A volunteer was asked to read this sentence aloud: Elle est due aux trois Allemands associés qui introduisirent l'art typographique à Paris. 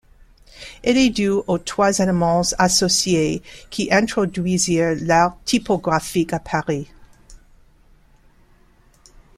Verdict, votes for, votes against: accepted, 2, 0